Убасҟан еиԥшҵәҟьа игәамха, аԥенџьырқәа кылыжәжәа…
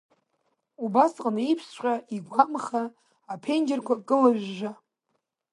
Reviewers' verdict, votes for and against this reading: accepted, 2, 0